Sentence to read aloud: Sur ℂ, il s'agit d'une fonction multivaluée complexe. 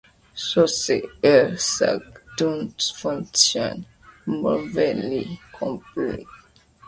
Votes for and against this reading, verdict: 0, 2, rejected